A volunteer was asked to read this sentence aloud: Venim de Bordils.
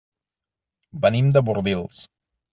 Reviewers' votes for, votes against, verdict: 3, 0, accepted